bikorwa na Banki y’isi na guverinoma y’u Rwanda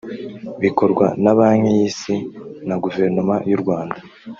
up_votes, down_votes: 1, 2